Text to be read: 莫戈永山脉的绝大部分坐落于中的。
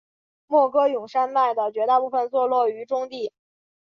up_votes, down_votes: 3, 1